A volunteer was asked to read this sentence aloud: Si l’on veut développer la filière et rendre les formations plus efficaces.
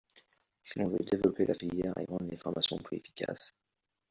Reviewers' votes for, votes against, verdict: 2, 0, accepted